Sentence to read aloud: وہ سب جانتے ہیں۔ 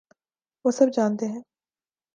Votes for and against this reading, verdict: 2, 0, accepted